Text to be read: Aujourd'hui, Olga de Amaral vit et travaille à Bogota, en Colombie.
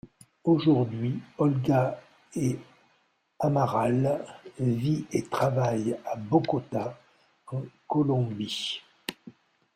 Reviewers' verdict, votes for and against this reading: rejected, 0, 2